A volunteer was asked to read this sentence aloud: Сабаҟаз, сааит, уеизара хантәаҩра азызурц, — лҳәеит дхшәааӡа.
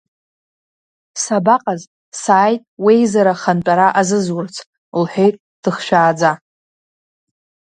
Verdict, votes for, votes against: rejected, 1, 2